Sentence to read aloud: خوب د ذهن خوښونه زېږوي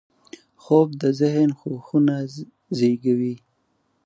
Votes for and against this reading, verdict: 3, 4, rejected